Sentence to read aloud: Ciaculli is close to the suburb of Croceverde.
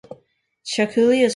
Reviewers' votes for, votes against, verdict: 0, 2, rejected